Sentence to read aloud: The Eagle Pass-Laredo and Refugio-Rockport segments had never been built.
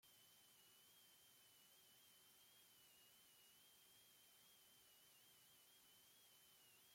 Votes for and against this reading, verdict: 0, 2, rejected